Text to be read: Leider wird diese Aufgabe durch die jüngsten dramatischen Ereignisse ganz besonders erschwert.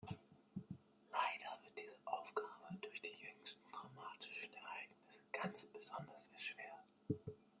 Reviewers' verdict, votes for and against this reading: rejected, 1, 2